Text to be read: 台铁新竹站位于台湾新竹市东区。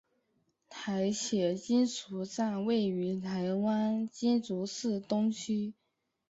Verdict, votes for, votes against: rejected, 1, 2